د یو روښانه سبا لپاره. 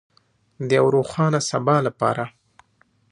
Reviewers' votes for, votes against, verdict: 3, 1, accepted